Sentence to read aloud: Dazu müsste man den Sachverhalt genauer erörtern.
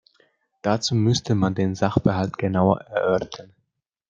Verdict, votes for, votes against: rejected, 0, 2